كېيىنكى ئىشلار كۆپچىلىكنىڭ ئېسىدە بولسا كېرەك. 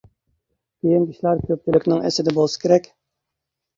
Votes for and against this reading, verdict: 0, 2, rejected